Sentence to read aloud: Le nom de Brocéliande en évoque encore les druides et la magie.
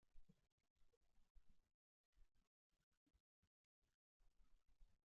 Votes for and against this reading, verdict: 0, 3, rejected